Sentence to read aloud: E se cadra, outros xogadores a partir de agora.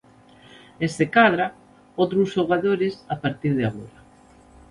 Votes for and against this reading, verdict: 0, 2, rejected